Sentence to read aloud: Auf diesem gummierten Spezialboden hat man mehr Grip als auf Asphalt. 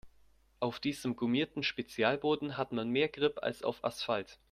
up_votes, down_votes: 2, 0